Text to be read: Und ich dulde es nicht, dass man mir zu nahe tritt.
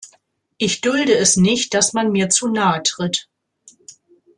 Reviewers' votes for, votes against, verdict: 0, 2, rejected